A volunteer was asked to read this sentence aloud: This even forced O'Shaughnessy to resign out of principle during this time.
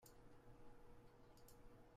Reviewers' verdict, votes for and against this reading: rejected, 0, 2